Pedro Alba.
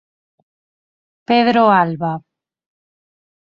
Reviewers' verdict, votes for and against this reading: accepted, 4, 0